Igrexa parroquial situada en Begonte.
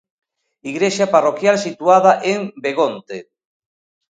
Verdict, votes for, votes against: accepted, 2, 0